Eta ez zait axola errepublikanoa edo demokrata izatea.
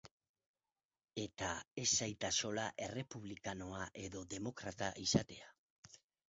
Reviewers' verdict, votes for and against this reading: rejected, 0, 2